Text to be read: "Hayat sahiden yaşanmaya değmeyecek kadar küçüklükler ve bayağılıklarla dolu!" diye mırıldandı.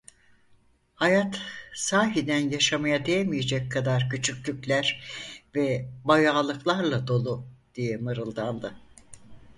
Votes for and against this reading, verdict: 2, 4, rejected